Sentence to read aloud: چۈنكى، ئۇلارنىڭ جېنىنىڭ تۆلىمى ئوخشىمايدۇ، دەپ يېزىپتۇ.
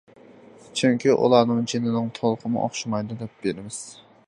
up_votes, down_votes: 0, 2